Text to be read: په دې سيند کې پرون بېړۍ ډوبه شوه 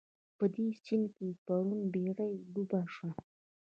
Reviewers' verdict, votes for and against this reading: rejected, 1, 2